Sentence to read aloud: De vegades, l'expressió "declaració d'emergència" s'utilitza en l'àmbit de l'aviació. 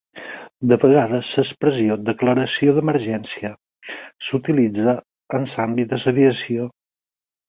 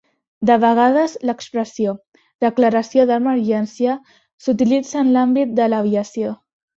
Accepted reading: second